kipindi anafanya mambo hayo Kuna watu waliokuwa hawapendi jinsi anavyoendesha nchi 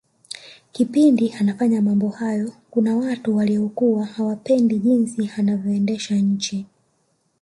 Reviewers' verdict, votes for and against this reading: accepted, 2, 1